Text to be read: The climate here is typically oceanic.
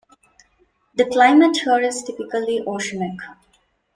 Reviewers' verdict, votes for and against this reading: rejected, 0, 2